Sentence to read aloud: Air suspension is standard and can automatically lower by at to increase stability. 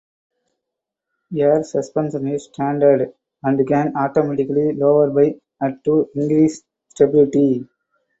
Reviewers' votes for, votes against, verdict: 2, 2, rejected